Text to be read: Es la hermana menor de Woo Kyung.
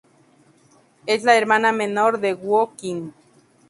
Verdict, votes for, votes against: accepted, 2, 0